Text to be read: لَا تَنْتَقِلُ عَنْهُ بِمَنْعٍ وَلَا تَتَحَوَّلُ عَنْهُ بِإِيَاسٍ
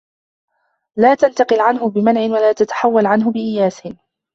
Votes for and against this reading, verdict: 2, 0, accepted